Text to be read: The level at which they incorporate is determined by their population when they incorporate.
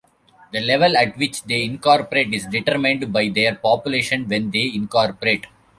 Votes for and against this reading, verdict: 1, 2, rejected